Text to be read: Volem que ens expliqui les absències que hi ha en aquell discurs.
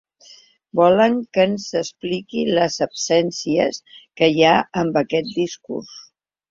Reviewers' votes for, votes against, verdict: 0, 2, rejected